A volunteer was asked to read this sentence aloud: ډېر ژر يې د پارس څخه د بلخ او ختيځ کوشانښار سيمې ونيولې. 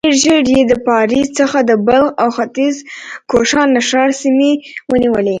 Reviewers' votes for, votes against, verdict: 2, 0, accepted